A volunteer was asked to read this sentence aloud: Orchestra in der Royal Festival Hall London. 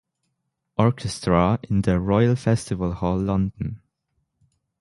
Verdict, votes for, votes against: accepted, 6, 0